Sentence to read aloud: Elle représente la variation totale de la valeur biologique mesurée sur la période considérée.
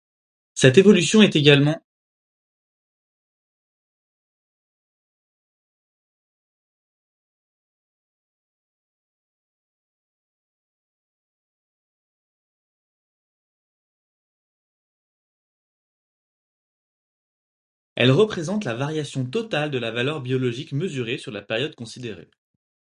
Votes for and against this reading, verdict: 0, 4, rejected